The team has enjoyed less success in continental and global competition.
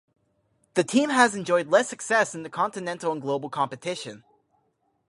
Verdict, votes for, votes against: rejected, 2, 4